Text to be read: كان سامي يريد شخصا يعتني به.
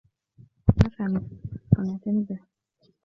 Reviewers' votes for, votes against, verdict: 1, 2, rejected